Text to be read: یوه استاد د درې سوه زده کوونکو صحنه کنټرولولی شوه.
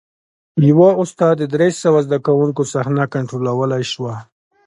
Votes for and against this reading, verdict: 2, 0, accepted